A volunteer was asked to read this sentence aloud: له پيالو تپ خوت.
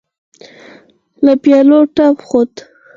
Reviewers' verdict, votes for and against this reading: rejected, 2, 4